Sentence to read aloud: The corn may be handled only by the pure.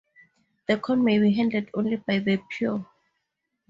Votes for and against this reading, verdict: 4, 0, accepted